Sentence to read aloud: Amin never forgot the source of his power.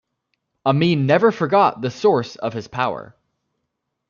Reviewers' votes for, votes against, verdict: 2, 0, accepted